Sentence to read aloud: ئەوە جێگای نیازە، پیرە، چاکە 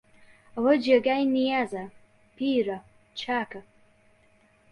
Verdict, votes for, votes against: accepted, 2, 0